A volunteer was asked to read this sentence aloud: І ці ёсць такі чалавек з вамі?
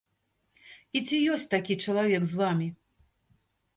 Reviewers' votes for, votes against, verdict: 2, 0, accepted